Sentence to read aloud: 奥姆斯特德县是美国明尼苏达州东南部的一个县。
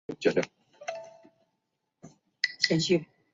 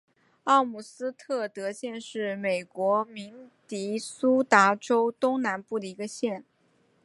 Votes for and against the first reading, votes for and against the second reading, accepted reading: 0, 3, 3, 0, second